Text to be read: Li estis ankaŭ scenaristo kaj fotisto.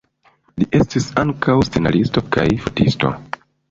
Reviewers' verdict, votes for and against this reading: rejected, 1, 2